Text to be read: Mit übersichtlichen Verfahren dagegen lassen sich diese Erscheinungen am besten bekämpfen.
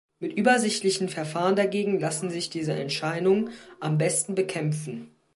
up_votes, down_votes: 1, 2